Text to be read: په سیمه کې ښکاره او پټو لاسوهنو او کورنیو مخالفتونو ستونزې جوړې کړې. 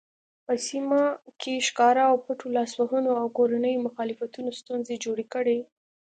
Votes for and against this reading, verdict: 2, 0, accepted